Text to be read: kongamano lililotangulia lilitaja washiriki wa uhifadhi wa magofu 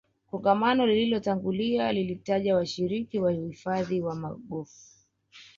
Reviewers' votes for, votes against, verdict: 1, 2, rejected